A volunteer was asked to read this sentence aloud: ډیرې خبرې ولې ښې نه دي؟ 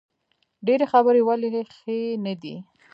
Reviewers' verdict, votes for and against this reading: rejected, 0, 2